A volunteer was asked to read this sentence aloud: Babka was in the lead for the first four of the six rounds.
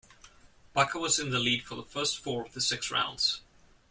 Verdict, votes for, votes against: accepted, 2, 0